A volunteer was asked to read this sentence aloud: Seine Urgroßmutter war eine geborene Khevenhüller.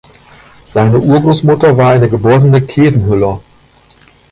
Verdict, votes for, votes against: rejected, 1, 2